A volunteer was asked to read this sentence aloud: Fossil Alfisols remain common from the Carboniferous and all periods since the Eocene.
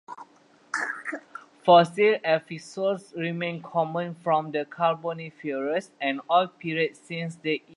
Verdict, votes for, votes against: rejected, 0, 2